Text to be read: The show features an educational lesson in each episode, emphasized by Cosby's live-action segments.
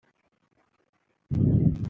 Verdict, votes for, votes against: rejected, 0, 2